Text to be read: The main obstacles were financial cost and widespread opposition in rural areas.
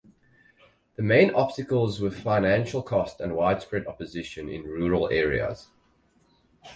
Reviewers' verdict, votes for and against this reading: rejected, 2, 2